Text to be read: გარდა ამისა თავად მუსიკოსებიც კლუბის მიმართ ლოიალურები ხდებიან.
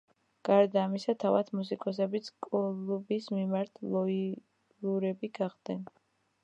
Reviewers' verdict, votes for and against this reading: rejected, 0, 2